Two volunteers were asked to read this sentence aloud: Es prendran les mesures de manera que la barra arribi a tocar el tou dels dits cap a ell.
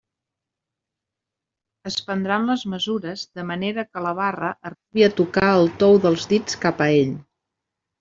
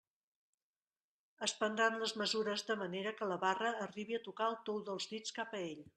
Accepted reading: first